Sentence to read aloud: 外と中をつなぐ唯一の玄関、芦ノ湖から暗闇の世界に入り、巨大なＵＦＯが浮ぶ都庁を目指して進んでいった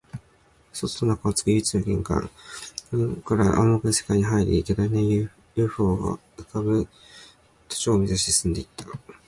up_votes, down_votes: 0, 2